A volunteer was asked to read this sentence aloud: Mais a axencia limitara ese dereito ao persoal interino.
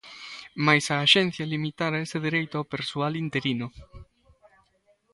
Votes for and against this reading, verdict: 2, 0, accepted